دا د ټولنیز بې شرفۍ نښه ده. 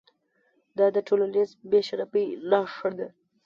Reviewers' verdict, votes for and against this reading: rejected, 1, 2